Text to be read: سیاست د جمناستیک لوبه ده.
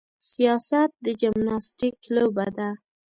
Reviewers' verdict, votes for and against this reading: accepted, 2, 0